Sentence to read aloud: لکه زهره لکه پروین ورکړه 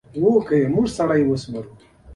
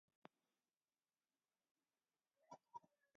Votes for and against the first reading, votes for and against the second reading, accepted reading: 2, 0, 1, 2, first